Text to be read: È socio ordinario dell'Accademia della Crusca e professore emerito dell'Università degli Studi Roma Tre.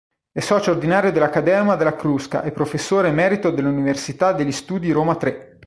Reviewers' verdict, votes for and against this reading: rejected, 1, 2